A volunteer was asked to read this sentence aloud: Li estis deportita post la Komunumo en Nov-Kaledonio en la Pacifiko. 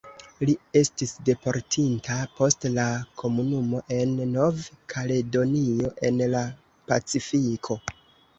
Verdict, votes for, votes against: rejected, 1, 2